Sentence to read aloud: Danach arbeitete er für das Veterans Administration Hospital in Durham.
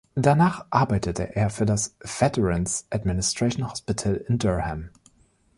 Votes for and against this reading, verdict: 2, 1, accepted